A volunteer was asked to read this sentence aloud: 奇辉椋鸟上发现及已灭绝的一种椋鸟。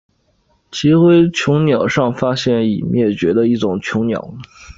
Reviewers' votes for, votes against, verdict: 7, 0, accepted